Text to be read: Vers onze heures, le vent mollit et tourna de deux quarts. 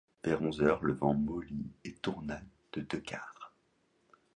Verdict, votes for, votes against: accepted, 2, 0